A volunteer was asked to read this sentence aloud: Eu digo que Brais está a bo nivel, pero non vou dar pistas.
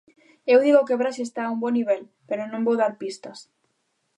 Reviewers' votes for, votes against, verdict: 2, 0, accepted